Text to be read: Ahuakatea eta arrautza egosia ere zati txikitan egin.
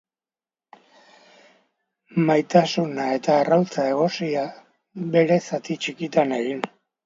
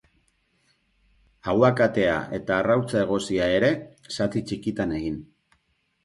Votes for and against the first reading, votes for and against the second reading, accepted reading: 0, 2, 4, 0, second